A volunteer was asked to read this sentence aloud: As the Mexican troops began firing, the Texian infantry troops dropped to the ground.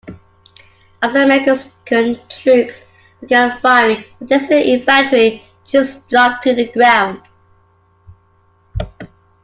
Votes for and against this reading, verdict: 0, 3, rejected